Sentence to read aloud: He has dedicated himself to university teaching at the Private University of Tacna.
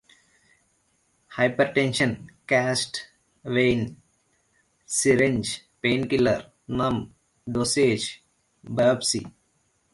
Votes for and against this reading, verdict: 0, 2, rejected